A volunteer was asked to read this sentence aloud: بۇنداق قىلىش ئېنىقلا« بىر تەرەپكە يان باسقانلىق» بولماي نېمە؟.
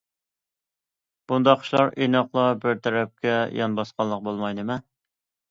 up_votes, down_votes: 1, 2